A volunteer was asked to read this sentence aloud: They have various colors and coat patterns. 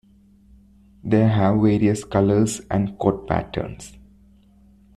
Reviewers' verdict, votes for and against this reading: rejected, 1, 2